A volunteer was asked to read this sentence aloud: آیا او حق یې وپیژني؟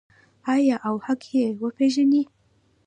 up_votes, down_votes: 2, 1